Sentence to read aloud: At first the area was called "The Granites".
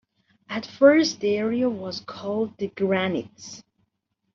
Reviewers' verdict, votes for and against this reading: accepted, 2, 0